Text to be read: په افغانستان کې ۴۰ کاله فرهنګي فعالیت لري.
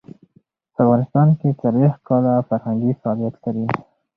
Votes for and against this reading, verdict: 0, 2, rejected